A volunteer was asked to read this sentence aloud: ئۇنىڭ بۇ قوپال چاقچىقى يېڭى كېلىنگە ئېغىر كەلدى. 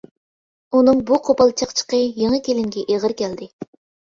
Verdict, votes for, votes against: accepted, 2, 0